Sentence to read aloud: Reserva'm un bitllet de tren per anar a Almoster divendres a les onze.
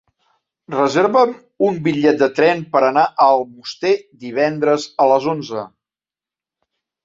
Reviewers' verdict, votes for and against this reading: accepted, 2, 1